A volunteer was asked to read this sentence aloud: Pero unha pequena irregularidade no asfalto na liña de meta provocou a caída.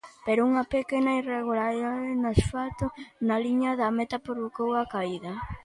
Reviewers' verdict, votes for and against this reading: rejected, 0, 2